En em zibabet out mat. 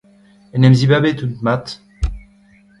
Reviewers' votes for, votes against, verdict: 2, 1, accepted